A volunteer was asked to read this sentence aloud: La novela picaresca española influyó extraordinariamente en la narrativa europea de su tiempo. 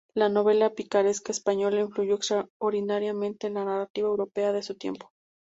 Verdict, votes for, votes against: accepted, 2, 0